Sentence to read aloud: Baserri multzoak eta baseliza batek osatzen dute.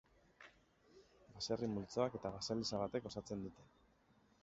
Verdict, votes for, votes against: rejected, 1, 2